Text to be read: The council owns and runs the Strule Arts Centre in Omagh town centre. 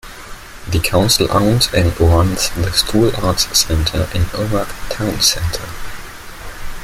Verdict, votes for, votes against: accepted, 2, 1